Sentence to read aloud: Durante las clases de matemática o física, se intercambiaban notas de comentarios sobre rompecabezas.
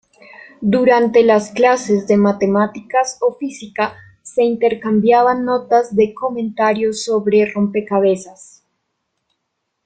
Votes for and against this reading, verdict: 0, 2, rejected